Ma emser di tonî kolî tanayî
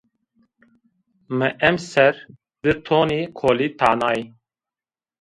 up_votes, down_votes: 2, 1